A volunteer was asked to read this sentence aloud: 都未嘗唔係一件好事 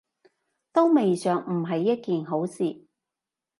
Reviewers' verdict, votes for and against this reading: accepted, 2, 0